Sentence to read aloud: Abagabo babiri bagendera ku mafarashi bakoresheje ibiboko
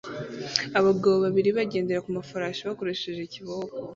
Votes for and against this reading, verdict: 0, 2, rejected